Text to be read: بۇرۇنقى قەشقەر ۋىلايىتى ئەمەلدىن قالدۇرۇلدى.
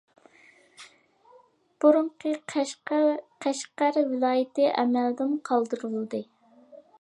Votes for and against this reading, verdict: 2, 0, accepted